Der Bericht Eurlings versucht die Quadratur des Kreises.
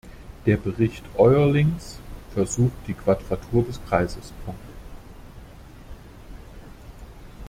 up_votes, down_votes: 0, 2